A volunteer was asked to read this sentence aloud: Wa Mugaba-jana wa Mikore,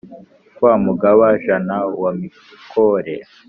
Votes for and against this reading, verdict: 2, 0, accepted